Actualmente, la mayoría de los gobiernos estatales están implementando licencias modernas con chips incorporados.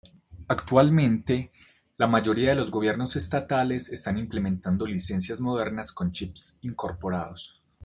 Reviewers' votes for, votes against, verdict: 2, 0, accepted